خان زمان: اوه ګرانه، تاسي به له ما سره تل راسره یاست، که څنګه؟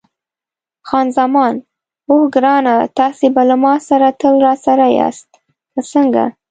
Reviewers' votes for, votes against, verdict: 2, 0, accepted